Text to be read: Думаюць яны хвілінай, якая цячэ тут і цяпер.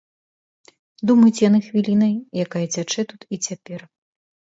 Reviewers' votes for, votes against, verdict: 2, 0, accepted